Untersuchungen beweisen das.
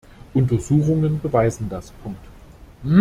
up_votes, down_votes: 0, 2